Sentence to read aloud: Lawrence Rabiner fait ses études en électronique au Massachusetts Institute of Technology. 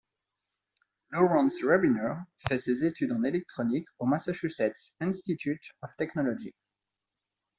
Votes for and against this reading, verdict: 2, 0, accepted